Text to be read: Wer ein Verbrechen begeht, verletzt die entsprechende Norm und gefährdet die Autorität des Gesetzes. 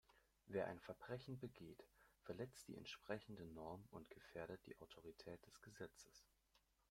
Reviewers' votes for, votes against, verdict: 1, 2, rejected